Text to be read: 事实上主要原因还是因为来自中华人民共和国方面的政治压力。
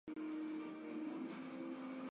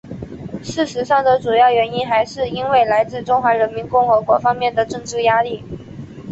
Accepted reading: second